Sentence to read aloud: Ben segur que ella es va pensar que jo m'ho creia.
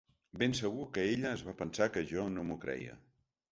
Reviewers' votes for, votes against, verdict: 1, 2, rejected